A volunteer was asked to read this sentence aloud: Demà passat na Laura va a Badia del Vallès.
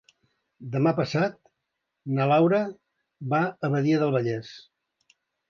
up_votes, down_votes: 5, 0